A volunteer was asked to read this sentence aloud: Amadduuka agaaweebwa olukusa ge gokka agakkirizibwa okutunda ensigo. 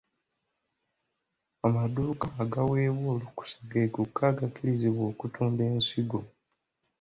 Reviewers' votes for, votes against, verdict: 2, 0, accepted